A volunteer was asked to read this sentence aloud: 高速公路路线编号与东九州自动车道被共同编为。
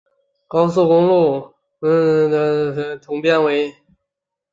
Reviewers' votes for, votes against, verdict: 0, 2, rejected